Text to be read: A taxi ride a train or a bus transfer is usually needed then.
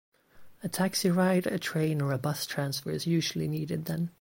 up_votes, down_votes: 2, 0